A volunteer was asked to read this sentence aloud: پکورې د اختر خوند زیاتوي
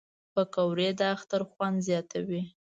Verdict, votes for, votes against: accepted, 2, 0